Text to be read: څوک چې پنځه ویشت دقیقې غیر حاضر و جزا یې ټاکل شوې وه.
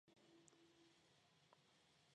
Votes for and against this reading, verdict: 1, 2, rejected